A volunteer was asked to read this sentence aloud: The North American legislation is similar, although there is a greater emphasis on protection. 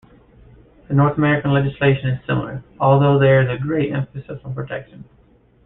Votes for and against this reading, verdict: 1, 2, rejected